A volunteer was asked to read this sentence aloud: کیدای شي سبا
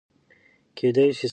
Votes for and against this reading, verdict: 1, 2, rejected